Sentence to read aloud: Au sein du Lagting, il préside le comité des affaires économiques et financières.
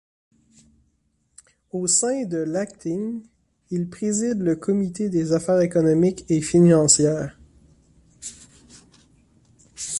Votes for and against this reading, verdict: 0, 2, rejected